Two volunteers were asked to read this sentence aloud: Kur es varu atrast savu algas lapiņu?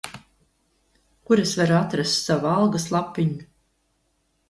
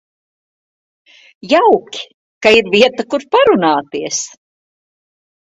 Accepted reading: first